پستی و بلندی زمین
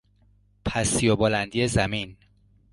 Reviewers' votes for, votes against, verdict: 2, 0, accepted